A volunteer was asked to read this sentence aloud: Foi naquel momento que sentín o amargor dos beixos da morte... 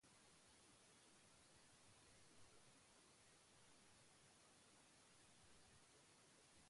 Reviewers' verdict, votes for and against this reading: rejected, 0, 2